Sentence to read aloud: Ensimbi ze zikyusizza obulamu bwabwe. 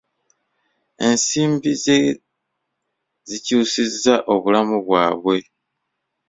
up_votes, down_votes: 2, 0